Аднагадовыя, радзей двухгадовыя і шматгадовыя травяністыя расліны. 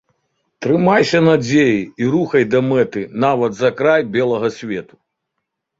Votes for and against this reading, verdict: 0, 2, rejected